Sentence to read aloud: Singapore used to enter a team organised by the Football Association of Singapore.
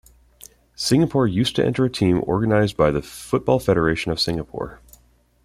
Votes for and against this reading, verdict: 0, 2, rejected